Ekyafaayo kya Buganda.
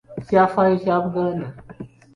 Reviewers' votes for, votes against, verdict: 0, 2, rejected